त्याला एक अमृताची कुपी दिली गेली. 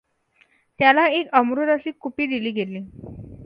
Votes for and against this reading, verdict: 2, 0, accepted